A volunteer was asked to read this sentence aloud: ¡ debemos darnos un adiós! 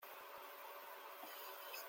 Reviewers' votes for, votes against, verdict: 0, 2, rejected